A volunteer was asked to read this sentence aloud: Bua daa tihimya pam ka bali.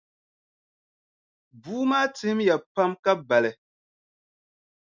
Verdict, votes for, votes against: rejected, 0, 2